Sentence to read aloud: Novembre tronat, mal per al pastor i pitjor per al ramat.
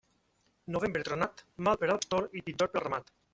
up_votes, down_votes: 0, 2